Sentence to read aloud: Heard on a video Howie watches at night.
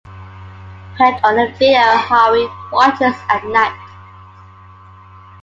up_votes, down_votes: 0, 2